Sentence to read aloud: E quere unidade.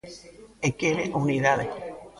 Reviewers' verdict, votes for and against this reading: rejected, 0, 2